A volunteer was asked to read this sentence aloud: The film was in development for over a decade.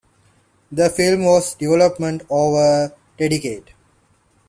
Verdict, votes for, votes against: rejected, 0, 2